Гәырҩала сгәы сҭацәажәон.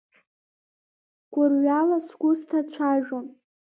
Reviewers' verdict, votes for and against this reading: rejected, 1, 2